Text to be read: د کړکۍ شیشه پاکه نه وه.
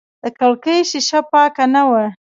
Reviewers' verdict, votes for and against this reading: rejected, 0, 2